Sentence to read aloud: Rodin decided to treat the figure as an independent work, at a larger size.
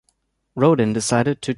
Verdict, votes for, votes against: rejected, 0, 2